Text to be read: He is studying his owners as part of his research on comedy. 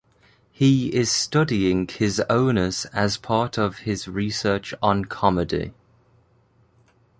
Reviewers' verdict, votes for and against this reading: accepted, 2, 0